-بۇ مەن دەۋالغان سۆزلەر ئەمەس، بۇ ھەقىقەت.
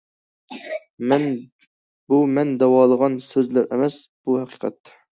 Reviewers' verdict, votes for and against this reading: rejected, 0, 2